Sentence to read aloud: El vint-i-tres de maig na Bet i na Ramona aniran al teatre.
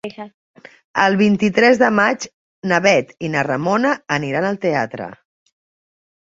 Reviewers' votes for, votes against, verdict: 2, 0, accepted